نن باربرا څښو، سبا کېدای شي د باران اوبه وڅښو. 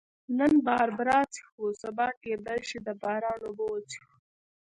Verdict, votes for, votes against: accepted, 2, 0